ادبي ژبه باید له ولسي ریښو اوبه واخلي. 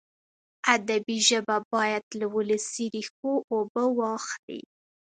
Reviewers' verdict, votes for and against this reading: accepted, 2, 0